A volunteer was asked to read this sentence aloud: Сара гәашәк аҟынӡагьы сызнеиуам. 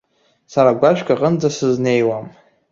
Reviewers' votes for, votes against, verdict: 1, 2, rejected